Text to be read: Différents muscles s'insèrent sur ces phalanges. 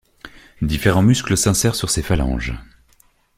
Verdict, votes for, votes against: accepted, 2, 0